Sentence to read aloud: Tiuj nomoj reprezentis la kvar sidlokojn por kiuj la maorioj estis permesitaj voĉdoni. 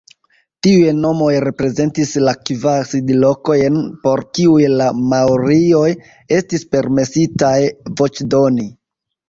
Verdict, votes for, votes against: rejected, 0, 2